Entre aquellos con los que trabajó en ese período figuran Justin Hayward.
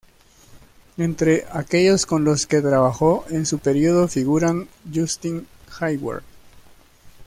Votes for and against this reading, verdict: 1, 2, rejected